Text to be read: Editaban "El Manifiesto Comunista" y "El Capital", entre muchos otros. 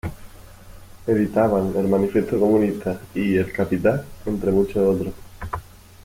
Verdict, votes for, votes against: accepted, 2, 0